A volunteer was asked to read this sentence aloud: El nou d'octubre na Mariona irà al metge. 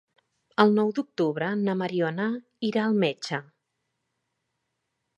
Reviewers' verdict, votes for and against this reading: accepted, 3, 0